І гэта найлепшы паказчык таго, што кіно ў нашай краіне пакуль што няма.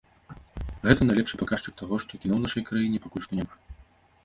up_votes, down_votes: 0, 2